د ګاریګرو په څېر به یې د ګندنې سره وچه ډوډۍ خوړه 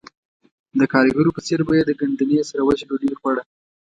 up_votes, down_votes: 2, 0